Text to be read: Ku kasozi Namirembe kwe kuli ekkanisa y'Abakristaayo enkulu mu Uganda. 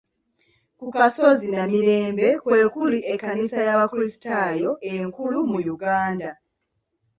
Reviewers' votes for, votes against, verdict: 2, 0, accepted